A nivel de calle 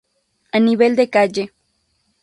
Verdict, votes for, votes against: accepted, 2, 0